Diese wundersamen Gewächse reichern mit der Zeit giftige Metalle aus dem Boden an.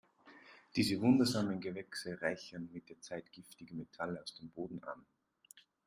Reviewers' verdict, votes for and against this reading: accepted, 3, 0